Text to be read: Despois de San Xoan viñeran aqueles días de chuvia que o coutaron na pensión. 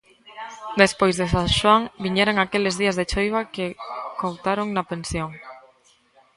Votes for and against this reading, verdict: 0, 2, rejected